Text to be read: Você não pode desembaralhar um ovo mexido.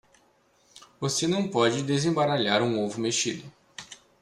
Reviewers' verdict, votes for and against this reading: accepted, 2, 0